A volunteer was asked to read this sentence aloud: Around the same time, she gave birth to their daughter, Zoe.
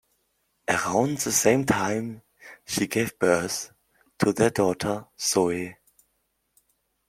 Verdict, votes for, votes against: accepted, 2, 0